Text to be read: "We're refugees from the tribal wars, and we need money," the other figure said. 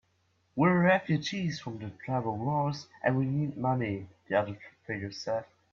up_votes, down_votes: 0, 2